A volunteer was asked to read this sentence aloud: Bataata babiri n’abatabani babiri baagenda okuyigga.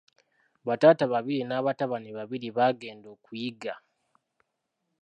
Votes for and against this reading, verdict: 0, 2, rejected